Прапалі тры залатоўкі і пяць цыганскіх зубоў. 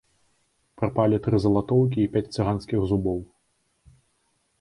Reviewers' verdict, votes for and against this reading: rejected, 1, 2